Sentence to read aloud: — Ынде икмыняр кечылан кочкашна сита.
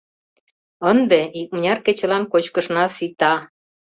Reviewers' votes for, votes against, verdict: 0, 2, rejected